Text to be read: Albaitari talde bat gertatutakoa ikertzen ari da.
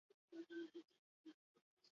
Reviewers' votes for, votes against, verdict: 0, 2, rejected